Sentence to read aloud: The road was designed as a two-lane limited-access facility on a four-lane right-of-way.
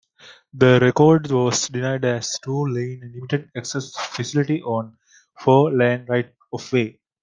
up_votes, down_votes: 1, 2